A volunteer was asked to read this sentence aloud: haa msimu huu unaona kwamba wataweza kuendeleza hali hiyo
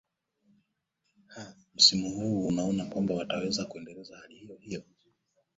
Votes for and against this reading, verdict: 0, 2, rejected